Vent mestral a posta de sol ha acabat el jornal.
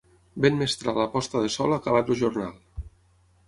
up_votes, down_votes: 3, 6